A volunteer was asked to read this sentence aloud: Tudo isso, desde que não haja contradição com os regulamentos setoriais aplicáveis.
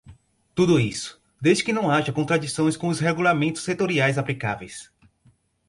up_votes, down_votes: 2, 2